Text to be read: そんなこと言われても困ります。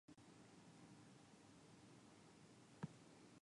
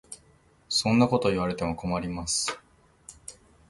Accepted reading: second